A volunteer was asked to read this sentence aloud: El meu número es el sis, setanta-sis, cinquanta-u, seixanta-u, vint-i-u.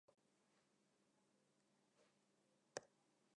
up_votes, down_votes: 0, 2